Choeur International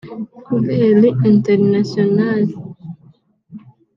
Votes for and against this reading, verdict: 1, 2, rejected